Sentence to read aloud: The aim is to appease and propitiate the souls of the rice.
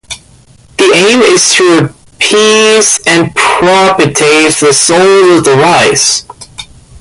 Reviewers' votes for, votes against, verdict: 0, 2, rejected